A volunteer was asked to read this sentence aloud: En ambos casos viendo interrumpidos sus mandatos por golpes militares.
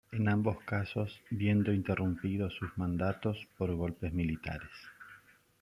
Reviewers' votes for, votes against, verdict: 2, 0, accepted